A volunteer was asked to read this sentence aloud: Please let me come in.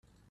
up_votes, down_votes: 0, 2